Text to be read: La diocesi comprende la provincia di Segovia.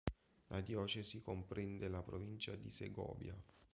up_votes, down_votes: 2, 0